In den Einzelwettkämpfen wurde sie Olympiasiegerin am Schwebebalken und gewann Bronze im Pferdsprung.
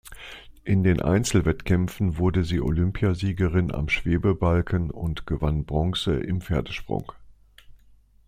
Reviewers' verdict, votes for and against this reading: accepted, 2, 0